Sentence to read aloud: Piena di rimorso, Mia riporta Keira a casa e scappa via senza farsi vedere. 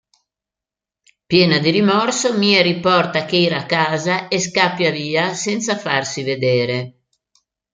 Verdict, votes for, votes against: rejected, 1, 2